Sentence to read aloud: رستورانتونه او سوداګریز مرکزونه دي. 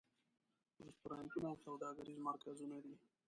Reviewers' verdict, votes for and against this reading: rejected, 1, 2